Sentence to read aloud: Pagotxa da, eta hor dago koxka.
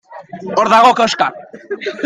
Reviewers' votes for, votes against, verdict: 0, 2, rejected